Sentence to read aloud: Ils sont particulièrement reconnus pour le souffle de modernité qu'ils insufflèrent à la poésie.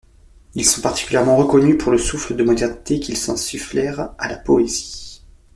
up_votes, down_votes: 0, 2